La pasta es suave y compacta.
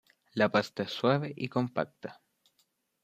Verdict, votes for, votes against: accepted, 2, 0